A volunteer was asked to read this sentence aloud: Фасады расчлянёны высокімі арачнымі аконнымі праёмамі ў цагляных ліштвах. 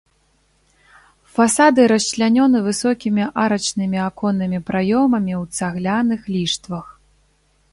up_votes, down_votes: 3, 0